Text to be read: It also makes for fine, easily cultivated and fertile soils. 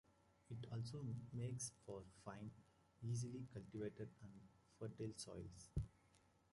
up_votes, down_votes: 0, 2